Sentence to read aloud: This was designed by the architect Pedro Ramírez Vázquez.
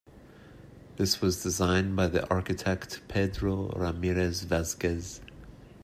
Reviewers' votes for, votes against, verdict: 1, 2, rejected